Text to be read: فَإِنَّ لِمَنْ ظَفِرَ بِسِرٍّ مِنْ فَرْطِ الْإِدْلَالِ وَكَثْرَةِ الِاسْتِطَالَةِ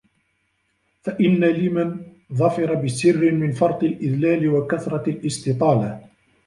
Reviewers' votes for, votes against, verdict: 0, 2, rejected